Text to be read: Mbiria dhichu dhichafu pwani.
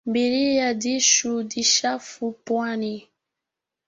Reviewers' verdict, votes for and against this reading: rejected, 1, 2